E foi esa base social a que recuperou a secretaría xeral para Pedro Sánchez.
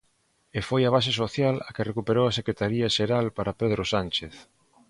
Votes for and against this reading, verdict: 0, 2, rejected